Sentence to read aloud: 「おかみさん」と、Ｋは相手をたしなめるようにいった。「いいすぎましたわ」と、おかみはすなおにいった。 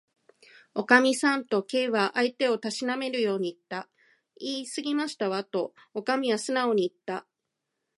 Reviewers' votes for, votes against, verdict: 2, 0, accepted